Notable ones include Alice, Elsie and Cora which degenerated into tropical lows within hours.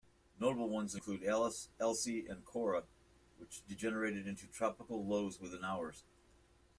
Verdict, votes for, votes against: accepted, 2, 0